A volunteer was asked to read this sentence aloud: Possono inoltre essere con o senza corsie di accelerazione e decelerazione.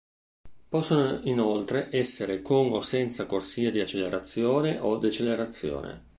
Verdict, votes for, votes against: rejected, 0, 2